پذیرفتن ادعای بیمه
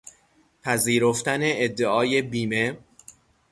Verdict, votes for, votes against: accepted, 3, 0